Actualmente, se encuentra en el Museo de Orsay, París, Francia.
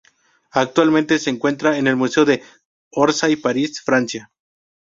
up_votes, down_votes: 2, 0